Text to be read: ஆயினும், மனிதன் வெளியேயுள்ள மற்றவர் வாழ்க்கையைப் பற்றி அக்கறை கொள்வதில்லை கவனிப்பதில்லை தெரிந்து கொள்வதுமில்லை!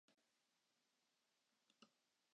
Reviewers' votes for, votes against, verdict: 0, 2, rejected